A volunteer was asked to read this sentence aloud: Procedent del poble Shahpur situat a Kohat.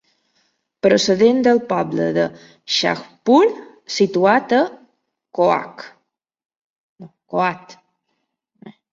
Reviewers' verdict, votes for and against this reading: rejected, 0, 2